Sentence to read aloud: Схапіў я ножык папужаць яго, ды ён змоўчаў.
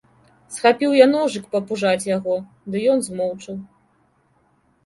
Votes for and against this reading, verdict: 2, 0, accepted